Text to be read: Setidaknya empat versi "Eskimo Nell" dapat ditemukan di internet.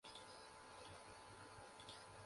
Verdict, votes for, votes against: rejected, 0, 2